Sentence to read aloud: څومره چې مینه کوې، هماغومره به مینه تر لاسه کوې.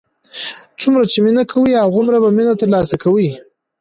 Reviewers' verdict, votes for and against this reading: rejected, 1, 2